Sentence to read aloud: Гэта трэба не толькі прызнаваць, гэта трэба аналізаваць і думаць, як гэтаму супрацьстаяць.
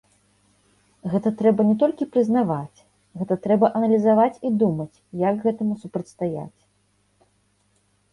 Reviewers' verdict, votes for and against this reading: accepted, 2, 0